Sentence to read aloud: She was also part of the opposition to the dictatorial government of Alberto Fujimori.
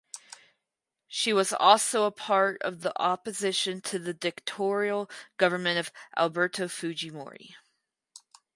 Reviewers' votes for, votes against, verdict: 2, 2, rejected